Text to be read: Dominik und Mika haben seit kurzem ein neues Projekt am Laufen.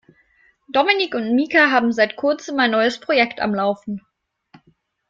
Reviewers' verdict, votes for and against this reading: accepted, 2, 0